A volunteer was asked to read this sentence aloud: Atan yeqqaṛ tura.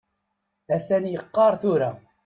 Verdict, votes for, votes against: accepted, 2, 0